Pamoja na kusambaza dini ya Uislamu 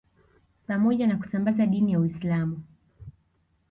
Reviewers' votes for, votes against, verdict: 2, 1, accepted